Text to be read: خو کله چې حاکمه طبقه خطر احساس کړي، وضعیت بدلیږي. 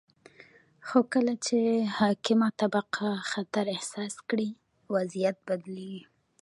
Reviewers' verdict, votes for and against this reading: rejected, 1, 2